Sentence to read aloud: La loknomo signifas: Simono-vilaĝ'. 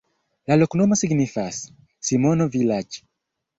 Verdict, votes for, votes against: rejected, 0, 2